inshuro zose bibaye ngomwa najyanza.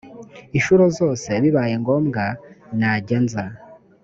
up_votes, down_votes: 2, 0